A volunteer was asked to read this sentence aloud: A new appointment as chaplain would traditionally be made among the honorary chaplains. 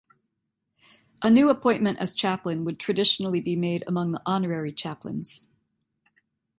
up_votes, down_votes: 2, 0